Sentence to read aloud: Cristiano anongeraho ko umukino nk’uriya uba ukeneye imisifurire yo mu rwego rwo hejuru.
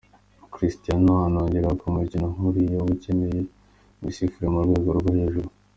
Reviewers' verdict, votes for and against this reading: accepted, 2, 1